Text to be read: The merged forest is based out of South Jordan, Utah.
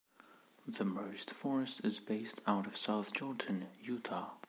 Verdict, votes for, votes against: accepted, 2, 0